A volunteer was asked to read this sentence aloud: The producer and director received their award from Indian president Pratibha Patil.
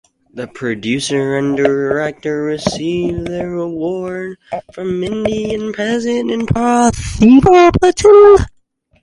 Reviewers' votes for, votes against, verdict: 0, 4, rejected